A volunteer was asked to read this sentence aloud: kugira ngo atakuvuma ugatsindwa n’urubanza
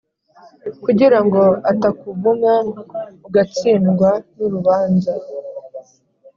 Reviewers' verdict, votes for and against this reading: accepted, 2, 0